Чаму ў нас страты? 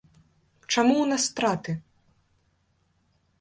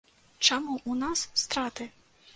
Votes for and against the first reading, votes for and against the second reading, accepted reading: 2, 0, 1, 2, first